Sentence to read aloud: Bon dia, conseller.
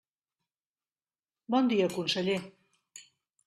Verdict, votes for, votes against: accepted, 3, 0